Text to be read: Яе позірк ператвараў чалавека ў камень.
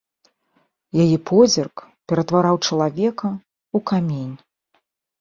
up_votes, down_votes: 2, 1